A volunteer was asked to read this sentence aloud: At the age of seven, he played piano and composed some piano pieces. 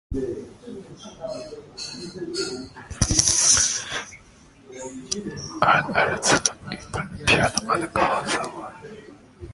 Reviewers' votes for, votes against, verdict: 0, 2, rejected